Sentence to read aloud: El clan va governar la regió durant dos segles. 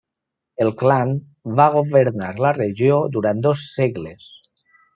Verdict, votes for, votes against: accepted, 3, 0